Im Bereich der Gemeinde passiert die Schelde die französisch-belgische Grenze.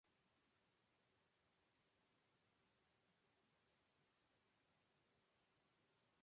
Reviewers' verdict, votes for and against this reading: rejected, 0, 2